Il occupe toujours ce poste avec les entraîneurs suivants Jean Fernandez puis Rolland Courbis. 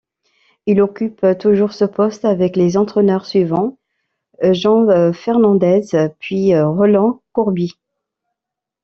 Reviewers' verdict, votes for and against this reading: accepted, 2, 1